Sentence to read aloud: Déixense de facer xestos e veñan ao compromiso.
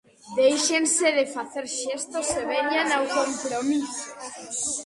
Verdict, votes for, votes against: rejected, 0, 2